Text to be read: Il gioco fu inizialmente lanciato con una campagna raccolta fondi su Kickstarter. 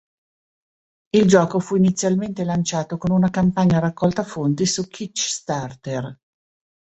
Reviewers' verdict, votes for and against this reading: rejected, 1, 2